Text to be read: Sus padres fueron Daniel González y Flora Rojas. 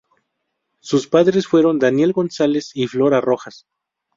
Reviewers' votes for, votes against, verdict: 2, 0, accepted